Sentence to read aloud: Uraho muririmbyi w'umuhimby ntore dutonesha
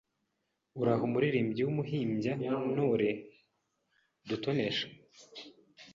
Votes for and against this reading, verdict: 2, 0, accepted